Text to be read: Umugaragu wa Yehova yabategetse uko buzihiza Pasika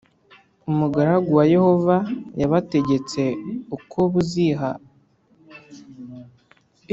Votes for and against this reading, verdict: 1, 2, rejected